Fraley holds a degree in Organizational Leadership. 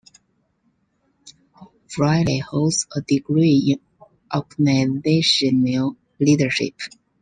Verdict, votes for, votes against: rejected, 1, 2